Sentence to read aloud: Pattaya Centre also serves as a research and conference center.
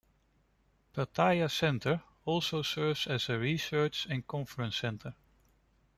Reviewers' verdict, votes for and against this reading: rejected, 1, 2